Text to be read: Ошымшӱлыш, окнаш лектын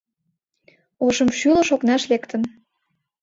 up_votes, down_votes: 3, 0